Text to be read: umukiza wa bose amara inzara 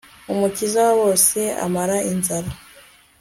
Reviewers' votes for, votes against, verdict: 2, 1, accepted